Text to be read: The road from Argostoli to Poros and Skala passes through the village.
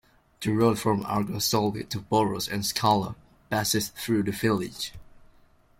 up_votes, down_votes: 2, 0